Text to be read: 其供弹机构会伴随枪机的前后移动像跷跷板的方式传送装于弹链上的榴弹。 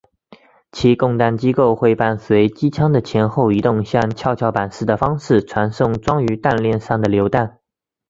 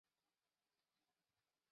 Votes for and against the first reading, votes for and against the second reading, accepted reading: 3, 0, 0, 2, first